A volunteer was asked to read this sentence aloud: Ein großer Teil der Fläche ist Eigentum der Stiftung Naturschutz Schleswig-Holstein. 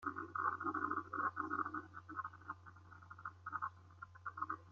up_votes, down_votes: 0, 2